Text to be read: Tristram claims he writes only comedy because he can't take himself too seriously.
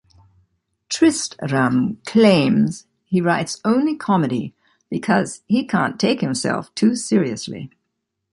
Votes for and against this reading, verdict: 2, 0, accepted